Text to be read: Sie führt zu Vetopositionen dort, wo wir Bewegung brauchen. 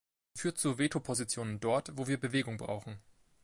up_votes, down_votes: 1, 2